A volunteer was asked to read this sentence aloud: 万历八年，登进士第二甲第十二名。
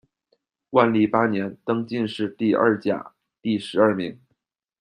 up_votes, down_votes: 2, 0